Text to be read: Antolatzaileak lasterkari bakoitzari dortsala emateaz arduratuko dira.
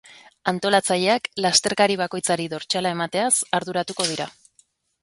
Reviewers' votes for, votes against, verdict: 3, 0, accepted